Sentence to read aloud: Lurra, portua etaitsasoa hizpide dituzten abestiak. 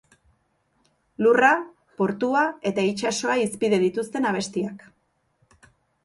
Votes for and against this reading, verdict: 2, 0, accepted